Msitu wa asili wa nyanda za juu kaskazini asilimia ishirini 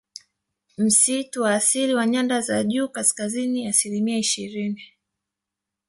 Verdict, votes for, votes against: rejected, 1, 2